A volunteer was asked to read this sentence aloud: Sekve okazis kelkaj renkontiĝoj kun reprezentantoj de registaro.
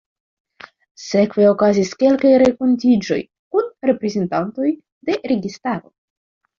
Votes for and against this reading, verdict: 2, 1, accepted